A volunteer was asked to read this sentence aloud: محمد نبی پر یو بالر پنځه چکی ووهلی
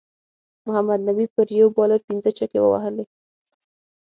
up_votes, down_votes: 6, 0